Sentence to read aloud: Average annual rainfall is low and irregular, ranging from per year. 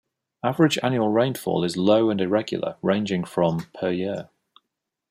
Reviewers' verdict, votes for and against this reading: accepted, 2, 0